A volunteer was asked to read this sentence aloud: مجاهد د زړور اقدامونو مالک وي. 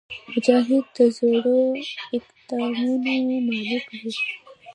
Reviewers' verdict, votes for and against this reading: rejected, 1, 2